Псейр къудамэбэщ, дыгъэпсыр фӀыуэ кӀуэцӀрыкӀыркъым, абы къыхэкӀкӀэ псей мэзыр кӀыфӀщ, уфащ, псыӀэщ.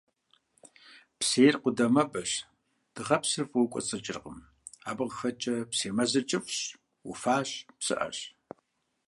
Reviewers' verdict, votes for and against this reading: accepted, 2, 0